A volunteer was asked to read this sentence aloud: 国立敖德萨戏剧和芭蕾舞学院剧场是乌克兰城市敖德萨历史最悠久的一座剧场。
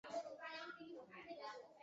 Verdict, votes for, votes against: rejected, 0, 3